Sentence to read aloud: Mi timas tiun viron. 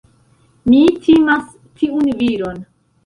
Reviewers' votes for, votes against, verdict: 2, 0, accepted